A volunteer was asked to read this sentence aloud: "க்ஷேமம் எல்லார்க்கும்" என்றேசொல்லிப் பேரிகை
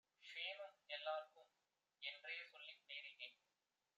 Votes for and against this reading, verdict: 1, 2, rejected